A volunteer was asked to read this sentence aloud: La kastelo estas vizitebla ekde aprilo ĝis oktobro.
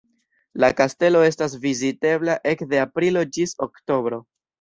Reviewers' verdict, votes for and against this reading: accepted, 2, 0